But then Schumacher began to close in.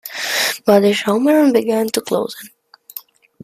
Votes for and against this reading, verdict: 0, 2, rejected